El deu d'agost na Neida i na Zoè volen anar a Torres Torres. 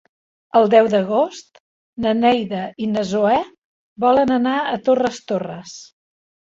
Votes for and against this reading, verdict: 3, 0, accepted